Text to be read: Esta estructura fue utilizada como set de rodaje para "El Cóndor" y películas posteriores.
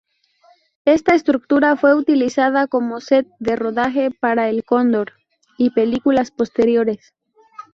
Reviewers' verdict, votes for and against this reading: rejected, 2, 2